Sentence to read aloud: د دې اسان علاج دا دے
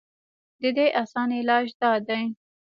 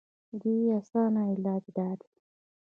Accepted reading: first